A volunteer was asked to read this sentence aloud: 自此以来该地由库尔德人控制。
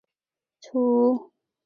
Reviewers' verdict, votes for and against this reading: rejected, 1, 4